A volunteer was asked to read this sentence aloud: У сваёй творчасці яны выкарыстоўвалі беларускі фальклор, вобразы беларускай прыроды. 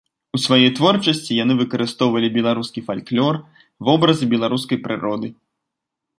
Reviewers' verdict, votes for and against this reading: rejected, 1, 2